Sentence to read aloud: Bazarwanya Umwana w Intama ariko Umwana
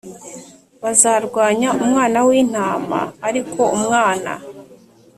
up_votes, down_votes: 3, 0